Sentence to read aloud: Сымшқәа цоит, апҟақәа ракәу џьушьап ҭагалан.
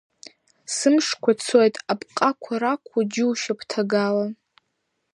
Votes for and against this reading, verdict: 2, 1, accepted